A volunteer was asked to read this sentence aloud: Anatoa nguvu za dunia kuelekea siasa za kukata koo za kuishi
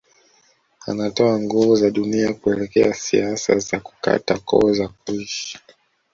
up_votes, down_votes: 0, 2